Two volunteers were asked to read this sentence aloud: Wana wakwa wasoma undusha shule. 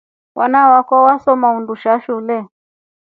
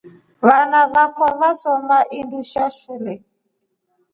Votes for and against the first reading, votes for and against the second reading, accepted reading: 3, 0, 2, 3, first